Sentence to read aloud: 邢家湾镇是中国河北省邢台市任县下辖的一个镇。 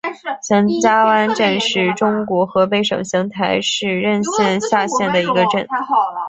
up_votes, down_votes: 1, 2